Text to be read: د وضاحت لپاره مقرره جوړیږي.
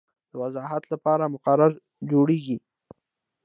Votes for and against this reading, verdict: 2, 0, accepted